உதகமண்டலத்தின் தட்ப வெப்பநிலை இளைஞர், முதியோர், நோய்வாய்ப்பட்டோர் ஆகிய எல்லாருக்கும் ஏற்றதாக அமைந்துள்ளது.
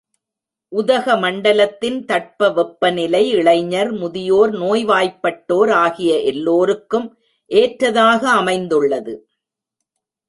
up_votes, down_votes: 1, 2